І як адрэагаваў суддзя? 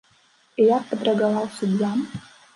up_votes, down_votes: 0, 2